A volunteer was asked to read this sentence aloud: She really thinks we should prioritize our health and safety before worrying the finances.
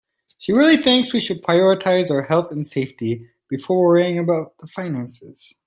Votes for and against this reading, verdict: 2, 0, accepted